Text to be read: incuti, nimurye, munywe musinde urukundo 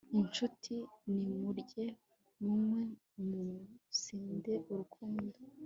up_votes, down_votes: 2, 0